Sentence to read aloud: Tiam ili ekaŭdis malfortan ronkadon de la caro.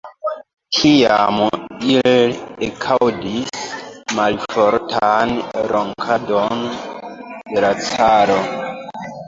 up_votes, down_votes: 2, 0